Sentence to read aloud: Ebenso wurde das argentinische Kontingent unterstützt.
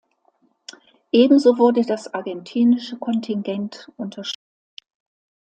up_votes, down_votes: 1, 2